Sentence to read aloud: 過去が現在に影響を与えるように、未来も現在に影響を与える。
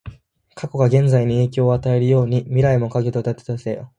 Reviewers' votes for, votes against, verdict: 1, 3, rejected